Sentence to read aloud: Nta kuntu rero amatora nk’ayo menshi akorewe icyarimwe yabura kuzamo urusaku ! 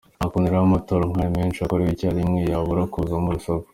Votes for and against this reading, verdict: 2, 0, accepted